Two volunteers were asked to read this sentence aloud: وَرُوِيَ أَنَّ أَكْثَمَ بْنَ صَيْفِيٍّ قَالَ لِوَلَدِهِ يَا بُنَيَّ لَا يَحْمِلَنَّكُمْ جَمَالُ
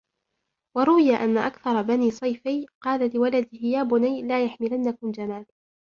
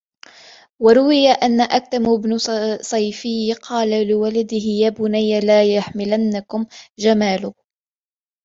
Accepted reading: first